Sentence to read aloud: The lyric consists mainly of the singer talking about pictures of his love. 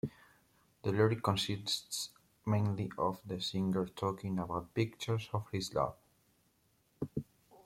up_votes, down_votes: 2, 0